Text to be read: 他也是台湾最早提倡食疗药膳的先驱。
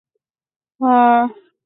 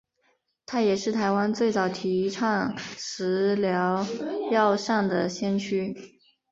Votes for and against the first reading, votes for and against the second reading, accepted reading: 0, 2, 4, 0, second